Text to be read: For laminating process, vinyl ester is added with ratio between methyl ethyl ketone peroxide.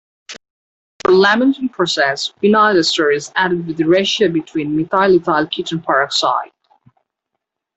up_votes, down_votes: 1, 2